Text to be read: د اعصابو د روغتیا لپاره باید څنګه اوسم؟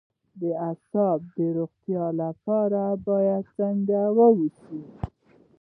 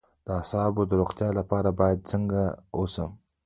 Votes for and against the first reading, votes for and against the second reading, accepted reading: 2, 3, 2, 1, second